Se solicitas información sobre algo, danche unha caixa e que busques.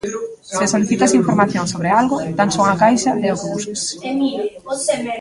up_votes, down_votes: 0, 3